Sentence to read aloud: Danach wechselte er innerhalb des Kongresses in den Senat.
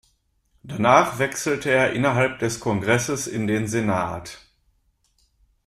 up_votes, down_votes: 2, 0